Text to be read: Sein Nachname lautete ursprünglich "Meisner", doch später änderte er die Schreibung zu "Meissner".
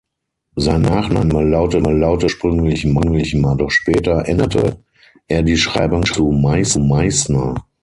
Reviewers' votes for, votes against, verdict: 0, 6, rejected